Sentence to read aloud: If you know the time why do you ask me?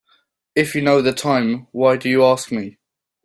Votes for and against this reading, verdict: 2, 0, accepted